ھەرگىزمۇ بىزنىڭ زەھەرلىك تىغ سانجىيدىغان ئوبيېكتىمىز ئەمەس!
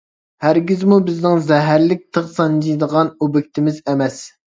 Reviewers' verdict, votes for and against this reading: accepted, 2, 0